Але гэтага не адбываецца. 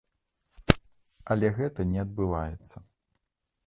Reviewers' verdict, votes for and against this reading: rejected, 0, 2